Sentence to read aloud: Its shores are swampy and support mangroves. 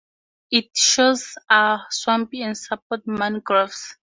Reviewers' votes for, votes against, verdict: 2, 0, accepted